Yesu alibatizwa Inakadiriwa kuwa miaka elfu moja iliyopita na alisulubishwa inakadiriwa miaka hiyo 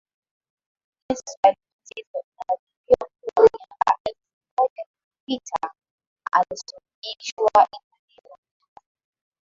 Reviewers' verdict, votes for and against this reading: rejected, 0, 2